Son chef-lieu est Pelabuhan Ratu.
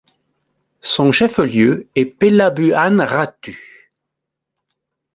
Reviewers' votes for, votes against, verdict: 0, 2, rejected